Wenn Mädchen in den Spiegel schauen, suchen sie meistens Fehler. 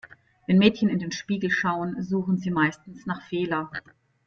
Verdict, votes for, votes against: rejected, 0, 2